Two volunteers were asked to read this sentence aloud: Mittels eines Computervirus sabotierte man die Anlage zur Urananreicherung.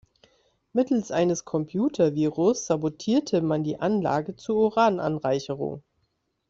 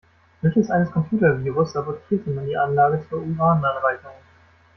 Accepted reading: first